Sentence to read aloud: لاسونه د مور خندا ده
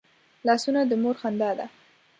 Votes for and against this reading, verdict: 2, 0, accepted